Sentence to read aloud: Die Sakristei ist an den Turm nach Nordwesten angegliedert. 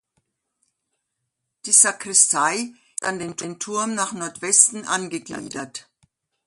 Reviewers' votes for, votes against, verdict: 0, 2, rejected